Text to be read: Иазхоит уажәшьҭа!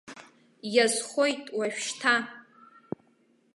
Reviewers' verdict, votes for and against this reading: accepted, 2, 0